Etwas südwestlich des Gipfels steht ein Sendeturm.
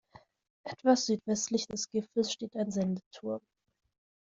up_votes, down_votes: 2, 0